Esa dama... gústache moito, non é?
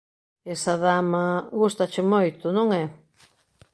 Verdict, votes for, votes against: accepted, 2, 0